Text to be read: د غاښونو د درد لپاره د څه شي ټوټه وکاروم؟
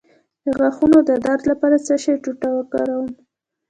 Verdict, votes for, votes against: rejected, 0, 2